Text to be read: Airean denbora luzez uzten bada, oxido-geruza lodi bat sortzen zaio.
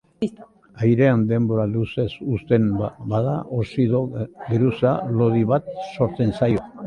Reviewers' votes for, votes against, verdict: 0, 2, rejected